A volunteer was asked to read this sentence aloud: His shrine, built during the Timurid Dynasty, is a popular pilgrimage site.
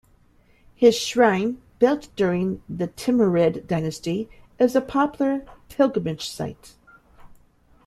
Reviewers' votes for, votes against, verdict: 2, 0, accepted